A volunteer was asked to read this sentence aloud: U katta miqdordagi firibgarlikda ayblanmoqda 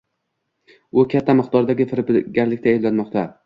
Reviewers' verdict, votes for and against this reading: rejected, 0, 2